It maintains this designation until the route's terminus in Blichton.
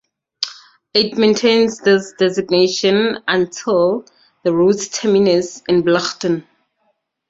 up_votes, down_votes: 4, 0